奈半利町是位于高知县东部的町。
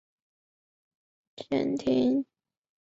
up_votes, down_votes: 1, 3